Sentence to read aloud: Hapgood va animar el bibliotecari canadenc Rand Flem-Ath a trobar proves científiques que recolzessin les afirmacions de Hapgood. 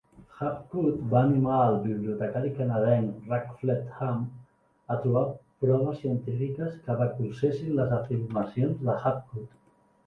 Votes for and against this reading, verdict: 0, 2, rejected